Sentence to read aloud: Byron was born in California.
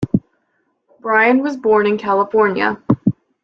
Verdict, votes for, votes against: rejected, 1, 2